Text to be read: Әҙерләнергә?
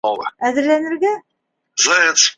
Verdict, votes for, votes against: rejected, 0, 2